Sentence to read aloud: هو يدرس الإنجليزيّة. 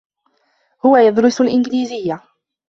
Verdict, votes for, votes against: accepted, 2, 1